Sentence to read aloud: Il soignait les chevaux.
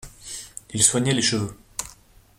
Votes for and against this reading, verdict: 0, 2, rejected